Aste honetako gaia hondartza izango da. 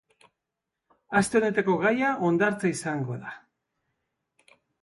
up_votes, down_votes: 2, 1